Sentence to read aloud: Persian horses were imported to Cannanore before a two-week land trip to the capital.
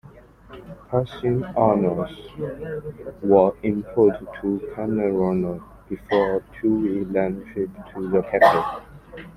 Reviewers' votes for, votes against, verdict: 0, 3, rejected